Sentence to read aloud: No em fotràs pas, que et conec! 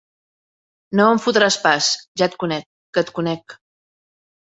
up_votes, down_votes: 0, 2